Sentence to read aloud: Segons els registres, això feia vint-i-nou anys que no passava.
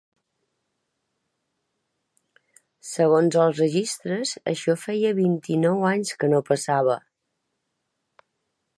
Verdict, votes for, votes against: accepted, 3, 0